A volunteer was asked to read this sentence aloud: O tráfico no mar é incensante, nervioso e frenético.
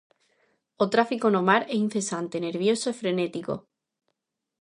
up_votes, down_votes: 2, 0